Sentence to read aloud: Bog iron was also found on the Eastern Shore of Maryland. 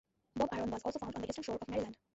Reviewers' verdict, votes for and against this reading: rejected, 0, 2